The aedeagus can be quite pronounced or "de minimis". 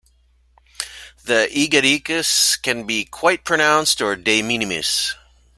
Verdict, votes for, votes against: rejected, 1, 2